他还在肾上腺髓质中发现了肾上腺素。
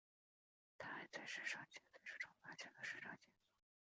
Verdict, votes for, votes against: rejected, 0, 3